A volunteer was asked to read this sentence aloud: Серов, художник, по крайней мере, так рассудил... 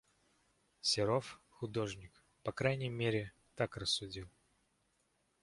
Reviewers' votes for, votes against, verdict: 2, 0, accepted